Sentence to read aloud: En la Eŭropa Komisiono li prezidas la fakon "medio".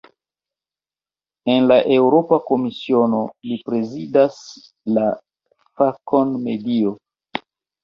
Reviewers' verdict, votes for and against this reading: accepted, 2, 0